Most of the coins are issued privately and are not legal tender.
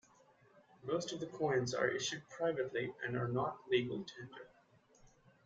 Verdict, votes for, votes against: accepted, 2, 0